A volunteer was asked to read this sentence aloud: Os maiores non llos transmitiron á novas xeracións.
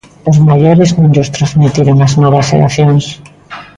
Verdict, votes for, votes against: accepted, 2, 0